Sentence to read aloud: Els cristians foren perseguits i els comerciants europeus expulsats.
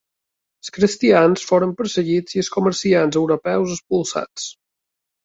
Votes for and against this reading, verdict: 2, 1, accepted